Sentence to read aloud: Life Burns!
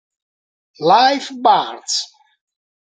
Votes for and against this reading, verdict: 1, 2, rejected